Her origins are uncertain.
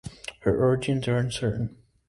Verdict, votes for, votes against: accepted, 2, 0